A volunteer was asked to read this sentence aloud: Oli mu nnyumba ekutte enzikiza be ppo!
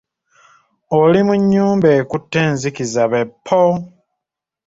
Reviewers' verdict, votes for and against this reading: accepted, 2, 0